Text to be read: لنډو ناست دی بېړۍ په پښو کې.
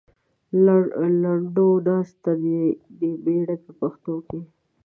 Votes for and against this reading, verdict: 2, 1, accepted